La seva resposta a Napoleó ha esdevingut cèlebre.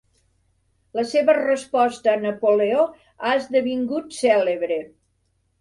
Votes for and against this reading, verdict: 3, 0, accepted